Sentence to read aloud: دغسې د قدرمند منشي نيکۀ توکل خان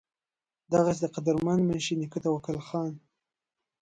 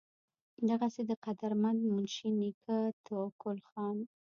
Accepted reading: first